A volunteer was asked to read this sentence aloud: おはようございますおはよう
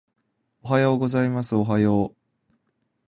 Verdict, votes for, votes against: accepted, 2, 0